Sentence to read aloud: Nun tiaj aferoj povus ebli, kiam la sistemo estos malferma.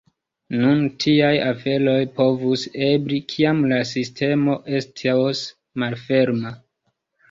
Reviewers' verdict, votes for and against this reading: rejected, 0, 2